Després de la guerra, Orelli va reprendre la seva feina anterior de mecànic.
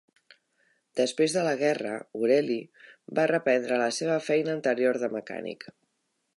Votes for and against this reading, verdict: 1, 2, rejected